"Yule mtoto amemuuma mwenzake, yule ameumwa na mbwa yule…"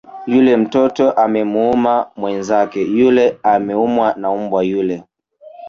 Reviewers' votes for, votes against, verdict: 1, 2, rejected